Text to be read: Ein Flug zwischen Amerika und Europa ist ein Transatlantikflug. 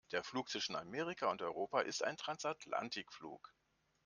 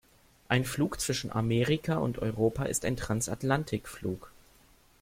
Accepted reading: second